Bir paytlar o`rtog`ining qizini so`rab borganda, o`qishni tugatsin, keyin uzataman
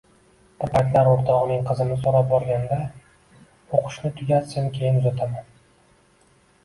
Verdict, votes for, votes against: rejected, 1, 2